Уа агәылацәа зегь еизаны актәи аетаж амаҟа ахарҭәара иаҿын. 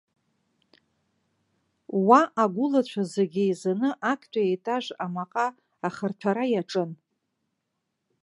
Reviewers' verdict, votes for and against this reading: rejected, 0, 2